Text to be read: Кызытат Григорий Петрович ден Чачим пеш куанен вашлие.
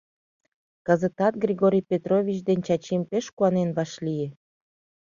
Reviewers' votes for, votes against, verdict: 2, 0, accepted